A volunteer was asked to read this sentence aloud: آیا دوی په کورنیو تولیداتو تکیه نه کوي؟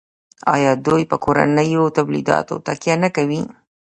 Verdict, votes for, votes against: rejected, 1, 2